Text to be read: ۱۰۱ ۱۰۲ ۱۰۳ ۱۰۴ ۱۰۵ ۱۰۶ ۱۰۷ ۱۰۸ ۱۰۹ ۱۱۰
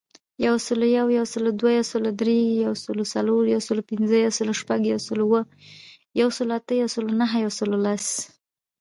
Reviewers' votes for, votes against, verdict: 0, 2, rejected